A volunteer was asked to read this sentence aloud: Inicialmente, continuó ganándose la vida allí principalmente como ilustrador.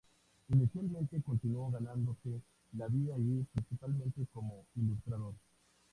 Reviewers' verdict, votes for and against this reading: accepted, 2, 0